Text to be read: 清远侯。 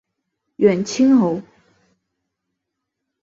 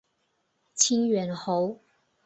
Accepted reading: second